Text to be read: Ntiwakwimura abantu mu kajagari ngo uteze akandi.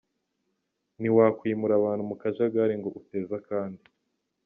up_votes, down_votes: 1, 2